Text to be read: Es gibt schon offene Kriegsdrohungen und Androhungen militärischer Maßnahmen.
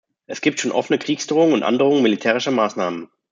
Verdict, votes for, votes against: accepted, 2, 0